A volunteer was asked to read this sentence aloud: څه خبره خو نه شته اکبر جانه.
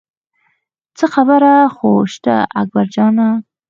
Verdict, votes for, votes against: rejected, 2, 4